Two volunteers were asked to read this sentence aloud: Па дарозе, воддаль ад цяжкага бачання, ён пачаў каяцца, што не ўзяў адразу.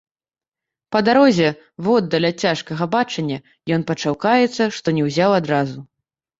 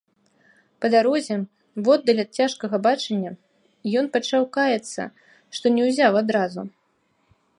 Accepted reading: second